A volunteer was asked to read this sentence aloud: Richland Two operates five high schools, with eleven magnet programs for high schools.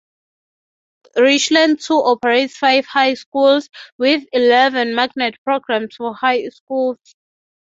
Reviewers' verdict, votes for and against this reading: accepted, 6, 0